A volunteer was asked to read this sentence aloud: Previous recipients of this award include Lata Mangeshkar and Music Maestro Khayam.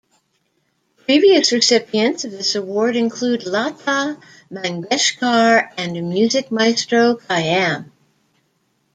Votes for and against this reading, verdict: 2, 0, accepted